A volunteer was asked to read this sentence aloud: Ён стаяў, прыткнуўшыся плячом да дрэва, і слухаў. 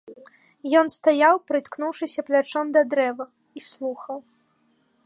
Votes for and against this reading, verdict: 2, 0, accepted